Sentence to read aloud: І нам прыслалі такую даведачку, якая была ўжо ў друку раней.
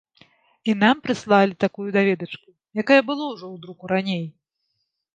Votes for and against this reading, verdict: 0, 2, rejected